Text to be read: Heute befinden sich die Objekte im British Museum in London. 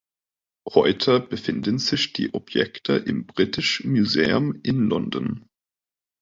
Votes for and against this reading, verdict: 2, 0, accepted